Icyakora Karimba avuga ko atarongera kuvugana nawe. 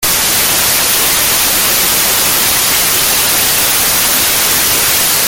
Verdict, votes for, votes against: rejected, 0, 2